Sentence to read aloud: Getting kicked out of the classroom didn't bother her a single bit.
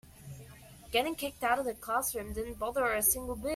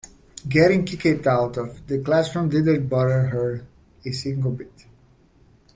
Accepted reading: second